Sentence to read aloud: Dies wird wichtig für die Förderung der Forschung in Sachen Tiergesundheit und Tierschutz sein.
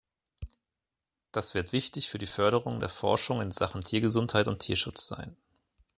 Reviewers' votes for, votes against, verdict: 0, 2, rejected